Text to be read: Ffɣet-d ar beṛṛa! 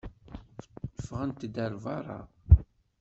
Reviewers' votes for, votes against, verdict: 2, 0, accepted